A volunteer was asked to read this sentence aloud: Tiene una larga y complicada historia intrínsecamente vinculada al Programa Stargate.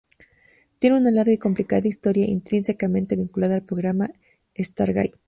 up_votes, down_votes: 2, 0